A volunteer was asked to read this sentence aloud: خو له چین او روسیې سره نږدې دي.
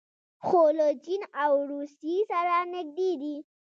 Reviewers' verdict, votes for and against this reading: rejected, 1, 2